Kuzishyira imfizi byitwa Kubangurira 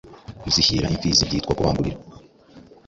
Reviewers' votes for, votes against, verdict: 2, 0, accepted